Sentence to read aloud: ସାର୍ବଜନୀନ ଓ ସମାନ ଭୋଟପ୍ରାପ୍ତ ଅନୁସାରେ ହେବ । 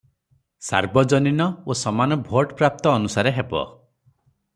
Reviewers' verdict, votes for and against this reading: accepted, 3, 0